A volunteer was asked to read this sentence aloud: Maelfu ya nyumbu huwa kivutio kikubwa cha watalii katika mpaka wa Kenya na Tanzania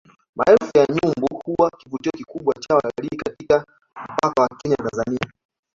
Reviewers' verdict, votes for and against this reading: accepted, 2, 1